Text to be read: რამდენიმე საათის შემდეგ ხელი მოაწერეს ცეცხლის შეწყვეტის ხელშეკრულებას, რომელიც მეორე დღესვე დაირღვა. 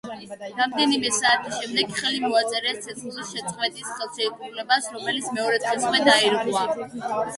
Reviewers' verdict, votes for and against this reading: rejected, 1, 2